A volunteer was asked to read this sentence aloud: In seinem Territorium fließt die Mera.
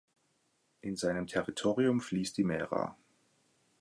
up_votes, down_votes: 2, 0